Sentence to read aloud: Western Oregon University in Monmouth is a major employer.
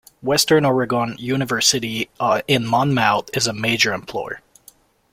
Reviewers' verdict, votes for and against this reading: rejected, 1, 2